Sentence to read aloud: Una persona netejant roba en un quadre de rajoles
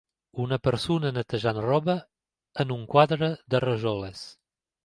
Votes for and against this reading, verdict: 3, 0, accepted